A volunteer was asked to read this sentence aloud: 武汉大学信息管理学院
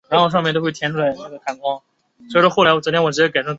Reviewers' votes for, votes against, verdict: 1, 4, rejected